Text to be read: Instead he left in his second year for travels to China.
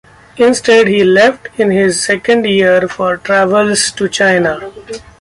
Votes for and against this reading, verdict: 2, 0, accepted